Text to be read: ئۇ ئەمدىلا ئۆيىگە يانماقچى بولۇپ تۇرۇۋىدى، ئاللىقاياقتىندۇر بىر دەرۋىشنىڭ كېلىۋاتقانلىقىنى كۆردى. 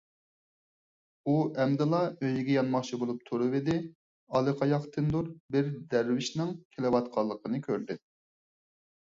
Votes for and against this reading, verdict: 4, 0, accepted